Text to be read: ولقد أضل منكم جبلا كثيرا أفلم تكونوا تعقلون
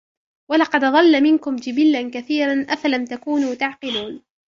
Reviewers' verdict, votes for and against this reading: accepted, 4, 0